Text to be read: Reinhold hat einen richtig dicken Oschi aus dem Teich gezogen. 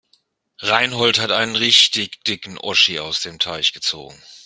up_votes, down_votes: 1, 2